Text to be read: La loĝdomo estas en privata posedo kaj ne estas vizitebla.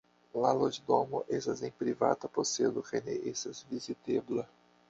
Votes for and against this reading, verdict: 0, 2, rejected